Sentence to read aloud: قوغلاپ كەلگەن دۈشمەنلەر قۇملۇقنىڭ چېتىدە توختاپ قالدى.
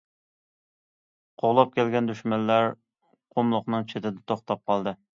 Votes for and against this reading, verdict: 2, 0, accepted